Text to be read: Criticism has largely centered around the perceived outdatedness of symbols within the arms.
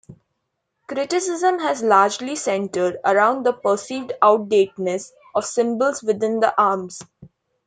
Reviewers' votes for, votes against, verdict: 1, 2, rejected